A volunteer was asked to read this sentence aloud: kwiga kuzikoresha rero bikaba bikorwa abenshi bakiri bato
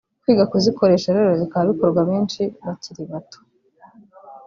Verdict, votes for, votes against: rejected, 0, 2